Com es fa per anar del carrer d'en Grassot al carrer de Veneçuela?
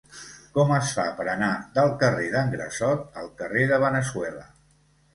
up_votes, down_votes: 1, 2